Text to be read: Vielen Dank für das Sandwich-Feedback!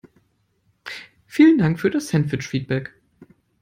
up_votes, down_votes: 2, 0